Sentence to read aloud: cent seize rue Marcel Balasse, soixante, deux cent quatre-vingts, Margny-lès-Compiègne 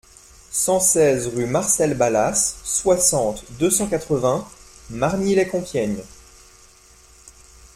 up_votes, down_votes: 3, 0